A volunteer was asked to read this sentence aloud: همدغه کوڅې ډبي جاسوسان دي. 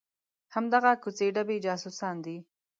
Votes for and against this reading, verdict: 2, 0, accepted